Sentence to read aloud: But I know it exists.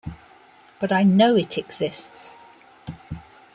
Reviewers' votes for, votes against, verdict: 2, 0, accepted